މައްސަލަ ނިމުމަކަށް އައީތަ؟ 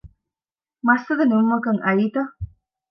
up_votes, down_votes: 2, 0